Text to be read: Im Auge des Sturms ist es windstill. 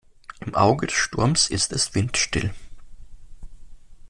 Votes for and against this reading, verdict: 2, 0, accepted